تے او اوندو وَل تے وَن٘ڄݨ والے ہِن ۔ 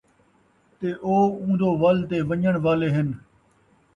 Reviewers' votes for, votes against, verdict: 2, 0, accepted